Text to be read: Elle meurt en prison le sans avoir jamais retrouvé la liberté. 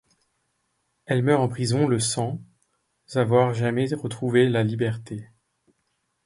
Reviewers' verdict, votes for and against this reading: rejected, 1, 2